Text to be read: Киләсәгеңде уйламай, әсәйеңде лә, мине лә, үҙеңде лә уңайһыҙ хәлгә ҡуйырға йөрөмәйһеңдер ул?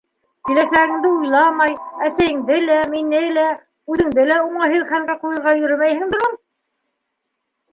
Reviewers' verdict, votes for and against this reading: accepted, 2, 1